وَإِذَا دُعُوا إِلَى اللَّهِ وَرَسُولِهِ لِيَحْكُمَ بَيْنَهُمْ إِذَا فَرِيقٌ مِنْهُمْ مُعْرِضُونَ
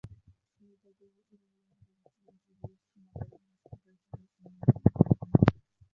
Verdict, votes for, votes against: rejected, 0, 2